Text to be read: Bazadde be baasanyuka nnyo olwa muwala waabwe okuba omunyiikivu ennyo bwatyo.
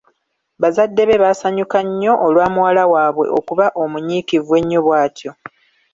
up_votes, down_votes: 3, 0